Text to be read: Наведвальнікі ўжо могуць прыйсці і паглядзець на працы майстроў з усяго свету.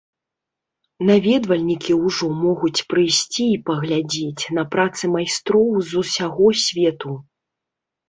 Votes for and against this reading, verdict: 3, 0, accepted